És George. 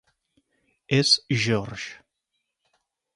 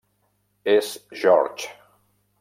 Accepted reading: first